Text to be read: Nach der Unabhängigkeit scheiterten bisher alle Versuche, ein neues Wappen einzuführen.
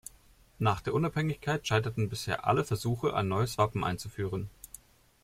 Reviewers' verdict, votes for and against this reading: accepted, 2, 0